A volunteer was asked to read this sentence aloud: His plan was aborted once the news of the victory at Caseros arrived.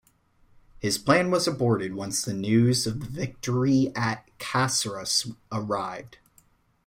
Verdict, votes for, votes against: accepted, 2, 1